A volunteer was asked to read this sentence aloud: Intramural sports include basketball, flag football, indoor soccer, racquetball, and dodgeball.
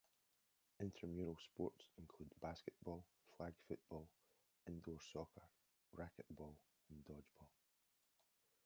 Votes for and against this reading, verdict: 0, 2, rejected